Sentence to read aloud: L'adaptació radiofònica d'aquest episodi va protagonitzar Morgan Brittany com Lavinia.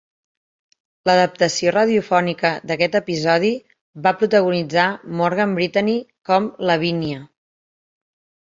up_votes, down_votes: 2, 0